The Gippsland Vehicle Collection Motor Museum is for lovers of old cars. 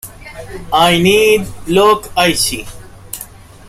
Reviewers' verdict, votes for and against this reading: rejected, 0, 2